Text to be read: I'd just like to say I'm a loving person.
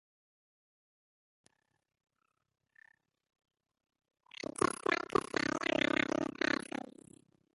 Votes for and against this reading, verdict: 0, 2, rejected